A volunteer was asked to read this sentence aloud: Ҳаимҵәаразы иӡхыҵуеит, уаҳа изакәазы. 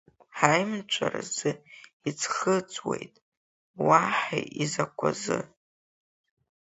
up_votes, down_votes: 4, 1